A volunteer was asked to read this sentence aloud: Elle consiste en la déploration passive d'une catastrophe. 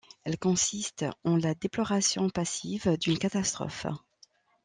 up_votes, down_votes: 2, 0